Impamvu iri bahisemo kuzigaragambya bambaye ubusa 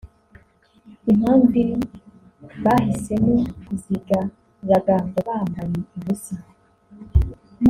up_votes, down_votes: 0, 2